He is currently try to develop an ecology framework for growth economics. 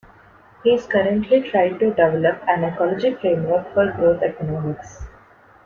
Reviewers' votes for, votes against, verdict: 2, 1, accepted